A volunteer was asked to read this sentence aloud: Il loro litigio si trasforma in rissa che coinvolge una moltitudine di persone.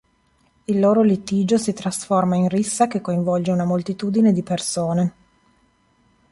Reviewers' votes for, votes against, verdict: 4, 0, accepted